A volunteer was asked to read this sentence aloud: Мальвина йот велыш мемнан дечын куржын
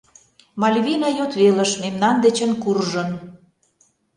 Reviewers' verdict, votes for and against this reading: accepted, 2, 0